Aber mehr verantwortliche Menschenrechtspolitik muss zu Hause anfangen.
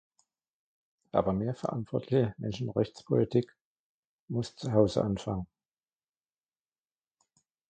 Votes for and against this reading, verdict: 1, 2, rejected